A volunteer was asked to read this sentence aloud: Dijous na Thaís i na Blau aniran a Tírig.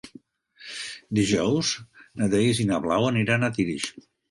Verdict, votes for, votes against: rejected, 1, 2